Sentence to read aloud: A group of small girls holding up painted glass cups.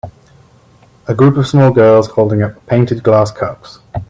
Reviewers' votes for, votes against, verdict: 2, 0, accepted